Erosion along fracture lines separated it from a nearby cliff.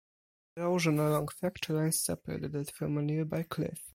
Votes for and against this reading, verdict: 2, 4, rejected